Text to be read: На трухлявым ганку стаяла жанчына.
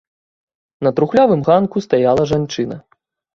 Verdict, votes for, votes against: accepted, 2, 0